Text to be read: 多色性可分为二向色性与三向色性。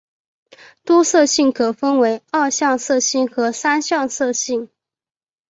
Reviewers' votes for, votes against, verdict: 2, 0, accepted